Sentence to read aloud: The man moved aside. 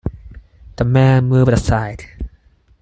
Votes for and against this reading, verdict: 4, 0, accepted